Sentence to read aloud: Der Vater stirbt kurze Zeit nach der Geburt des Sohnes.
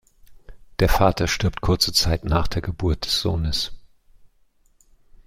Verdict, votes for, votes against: accepted, 2, 0